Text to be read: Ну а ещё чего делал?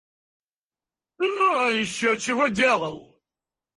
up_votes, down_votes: 0, 4